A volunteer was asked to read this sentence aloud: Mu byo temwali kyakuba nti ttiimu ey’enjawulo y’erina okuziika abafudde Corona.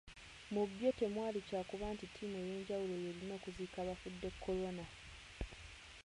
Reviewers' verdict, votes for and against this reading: accepted, 2, 1